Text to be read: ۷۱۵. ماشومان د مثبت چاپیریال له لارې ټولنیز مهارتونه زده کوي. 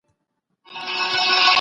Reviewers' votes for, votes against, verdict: 0, 2, rejected